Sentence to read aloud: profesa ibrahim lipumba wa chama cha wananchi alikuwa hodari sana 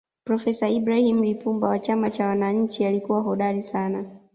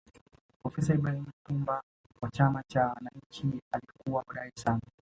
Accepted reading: first